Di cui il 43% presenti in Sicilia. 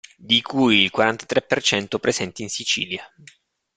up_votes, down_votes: 0, 2